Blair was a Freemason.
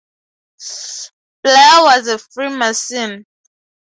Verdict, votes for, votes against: accepted, 2, 0